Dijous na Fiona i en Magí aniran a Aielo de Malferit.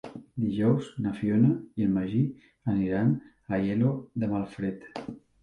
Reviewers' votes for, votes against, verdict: 1, 2, rejected